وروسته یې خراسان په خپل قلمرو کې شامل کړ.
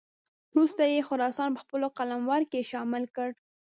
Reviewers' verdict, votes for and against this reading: rejected, 0, 2